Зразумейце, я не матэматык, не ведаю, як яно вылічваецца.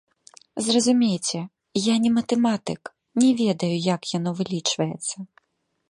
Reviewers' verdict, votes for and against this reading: accepted, 2, 1